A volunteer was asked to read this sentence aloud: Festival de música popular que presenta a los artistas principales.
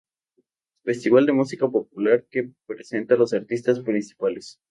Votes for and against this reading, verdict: 0, 2, rejected